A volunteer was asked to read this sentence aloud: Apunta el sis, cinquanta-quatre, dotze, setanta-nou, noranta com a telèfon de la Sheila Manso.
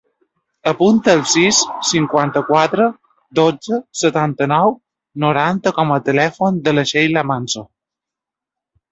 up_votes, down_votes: 2, 0